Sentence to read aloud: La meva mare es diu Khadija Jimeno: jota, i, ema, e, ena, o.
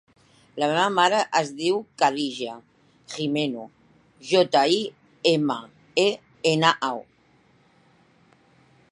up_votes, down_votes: 1, 2